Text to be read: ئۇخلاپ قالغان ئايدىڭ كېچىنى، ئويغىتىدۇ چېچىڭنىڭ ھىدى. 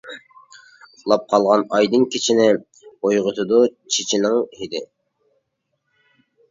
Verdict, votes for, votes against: rejected, 0, 2